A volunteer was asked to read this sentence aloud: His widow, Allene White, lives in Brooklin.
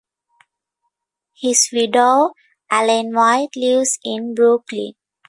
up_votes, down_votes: 2, 0